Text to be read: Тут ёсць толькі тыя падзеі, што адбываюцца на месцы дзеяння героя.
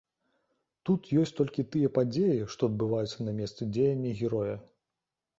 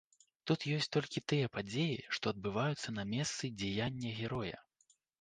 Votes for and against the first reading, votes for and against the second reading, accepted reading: 2, 0, 1, 2, first